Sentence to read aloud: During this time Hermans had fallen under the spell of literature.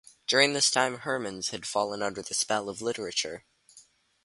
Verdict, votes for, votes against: accepted, 2, 0